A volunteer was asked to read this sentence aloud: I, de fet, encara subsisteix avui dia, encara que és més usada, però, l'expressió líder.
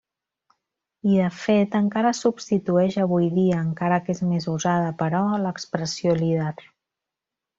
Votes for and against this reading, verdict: 0, 2, rejected